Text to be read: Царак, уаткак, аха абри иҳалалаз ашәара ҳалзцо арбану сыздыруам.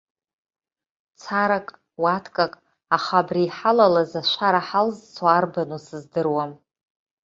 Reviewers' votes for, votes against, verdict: 2, 0, accepted